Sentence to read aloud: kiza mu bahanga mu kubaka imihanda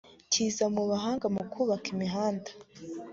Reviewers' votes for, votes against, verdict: 2, 0, accepted